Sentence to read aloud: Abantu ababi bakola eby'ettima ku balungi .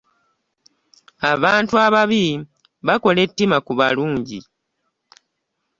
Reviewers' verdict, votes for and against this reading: rejected, 1, 2